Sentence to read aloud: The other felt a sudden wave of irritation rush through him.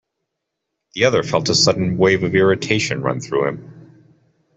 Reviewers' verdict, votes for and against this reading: rejected, 0, 2